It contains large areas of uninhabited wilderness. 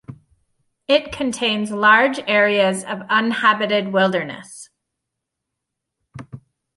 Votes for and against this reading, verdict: 1, 2, rejected